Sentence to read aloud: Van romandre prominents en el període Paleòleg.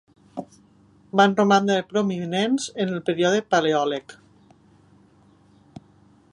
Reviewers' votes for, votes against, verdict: 0, 3, rejected